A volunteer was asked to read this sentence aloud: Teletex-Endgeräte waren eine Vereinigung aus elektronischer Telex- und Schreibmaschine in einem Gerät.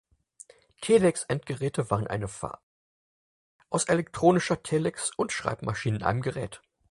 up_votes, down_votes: 0, 4